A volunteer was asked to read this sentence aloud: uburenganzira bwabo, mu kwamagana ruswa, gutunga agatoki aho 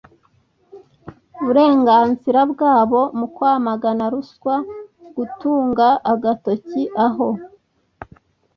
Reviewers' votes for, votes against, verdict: 2, 0, accepted